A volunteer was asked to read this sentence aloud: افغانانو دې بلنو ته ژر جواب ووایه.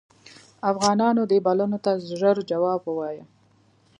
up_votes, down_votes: 2, 0